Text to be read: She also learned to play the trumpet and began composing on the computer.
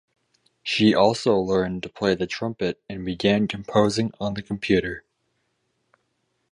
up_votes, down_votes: 2, 2